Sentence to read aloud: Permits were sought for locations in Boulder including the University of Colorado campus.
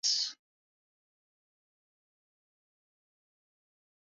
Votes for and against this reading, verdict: 0, 2, rejected